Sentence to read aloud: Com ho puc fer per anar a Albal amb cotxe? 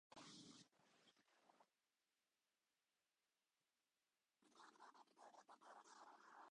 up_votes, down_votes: 0, 2